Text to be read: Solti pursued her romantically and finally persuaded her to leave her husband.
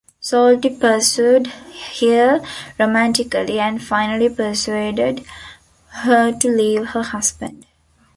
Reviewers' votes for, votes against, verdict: 1, 2, rejected